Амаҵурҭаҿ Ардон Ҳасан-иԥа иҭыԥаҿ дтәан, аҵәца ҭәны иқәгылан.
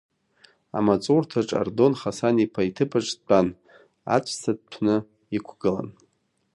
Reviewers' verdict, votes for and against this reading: rejected, 0, 2